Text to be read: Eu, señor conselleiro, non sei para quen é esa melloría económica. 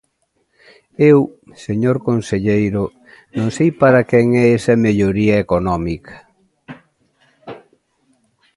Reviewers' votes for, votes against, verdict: 2, 0, accepted